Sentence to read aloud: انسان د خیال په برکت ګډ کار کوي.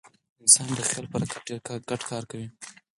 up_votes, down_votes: 0, 4